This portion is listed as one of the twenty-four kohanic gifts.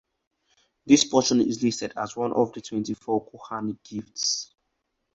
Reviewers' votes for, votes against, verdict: 4, 2, accepted